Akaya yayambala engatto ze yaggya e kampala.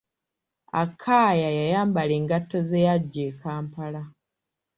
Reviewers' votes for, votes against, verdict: 1, 2, rejected